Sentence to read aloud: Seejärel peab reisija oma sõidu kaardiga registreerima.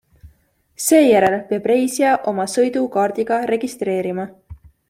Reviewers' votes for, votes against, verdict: 2, 0, accepted